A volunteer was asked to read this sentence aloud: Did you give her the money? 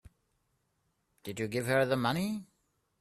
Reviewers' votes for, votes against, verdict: 3, 0, accepted